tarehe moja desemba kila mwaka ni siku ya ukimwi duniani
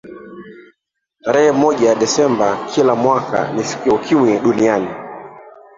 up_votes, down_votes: 0, 2